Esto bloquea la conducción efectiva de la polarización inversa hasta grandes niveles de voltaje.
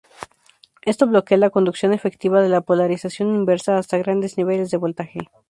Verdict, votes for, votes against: accepted, 2, 0